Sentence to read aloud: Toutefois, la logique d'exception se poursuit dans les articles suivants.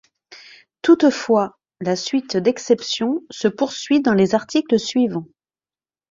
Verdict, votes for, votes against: rejected, 1, 2